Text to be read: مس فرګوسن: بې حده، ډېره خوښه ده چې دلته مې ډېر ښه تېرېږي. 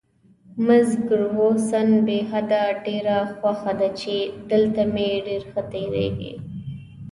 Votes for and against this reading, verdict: 1, 2, rejected